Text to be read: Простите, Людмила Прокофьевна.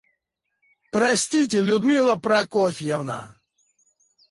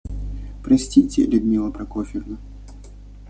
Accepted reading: second